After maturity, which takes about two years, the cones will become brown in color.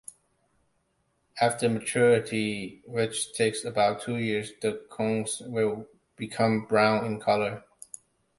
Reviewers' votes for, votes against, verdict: 2, 0, accepted